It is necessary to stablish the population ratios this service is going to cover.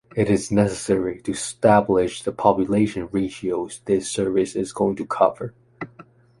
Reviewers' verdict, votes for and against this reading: accepted, 2, 0